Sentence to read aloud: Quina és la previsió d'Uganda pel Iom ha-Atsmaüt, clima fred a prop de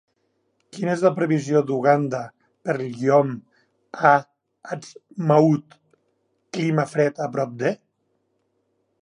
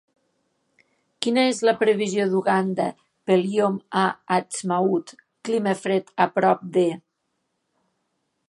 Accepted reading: second